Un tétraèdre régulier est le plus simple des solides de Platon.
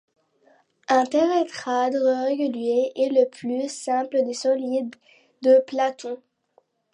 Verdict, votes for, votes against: rejected, 0, 2